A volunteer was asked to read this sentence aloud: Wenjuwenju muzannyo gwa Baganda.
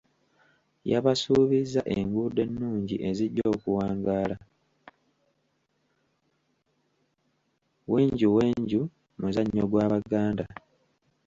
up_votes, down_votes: 0, 2